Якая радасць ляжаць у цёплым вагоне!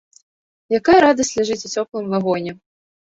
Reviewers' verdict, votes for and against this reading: rejected, 1, 2